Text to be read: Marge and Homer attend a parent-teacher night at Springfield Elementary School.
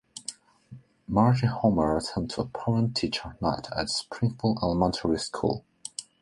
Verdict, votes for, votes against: accepted, 2, 0